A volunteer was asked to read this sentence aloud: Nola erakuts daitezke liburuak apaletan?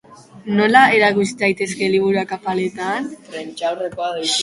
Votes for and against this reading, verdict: 0, 3, rejected